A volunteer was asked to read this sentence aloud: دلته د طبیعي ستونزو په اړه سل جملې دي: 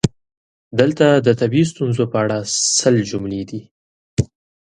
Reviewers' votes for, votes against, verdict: 2, 0, accepted